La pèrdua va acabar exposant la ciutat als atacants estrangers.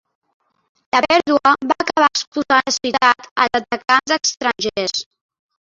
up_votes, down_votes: 0, 2